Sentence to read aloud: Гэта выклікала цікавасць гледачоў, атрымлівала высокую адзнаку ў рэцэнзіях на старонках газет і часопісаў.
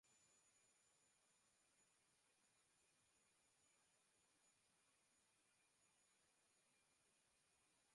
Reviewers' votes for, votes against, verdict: 0, 2, rejected